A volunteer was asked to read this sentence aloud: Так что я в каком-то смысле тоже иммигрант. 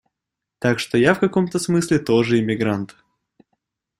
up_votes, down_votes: 2, 0